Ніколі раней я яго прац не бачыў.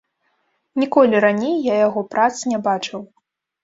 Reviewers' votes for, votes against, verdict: 2, 0, accepted